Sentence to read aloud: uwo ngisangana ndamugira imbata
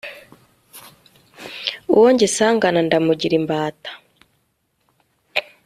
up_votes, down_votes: 2, 0